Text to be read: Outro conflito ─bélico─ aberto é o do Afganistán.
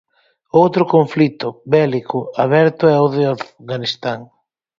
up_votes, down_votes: 2, 4